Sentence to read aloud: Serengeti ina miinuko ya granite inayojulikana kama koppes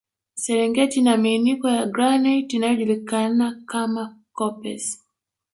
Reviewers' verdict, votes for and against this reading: rejected, 1, 2